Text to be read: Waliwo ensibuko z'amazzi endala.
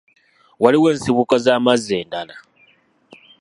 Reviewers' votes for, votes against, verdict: 2, 0, accepted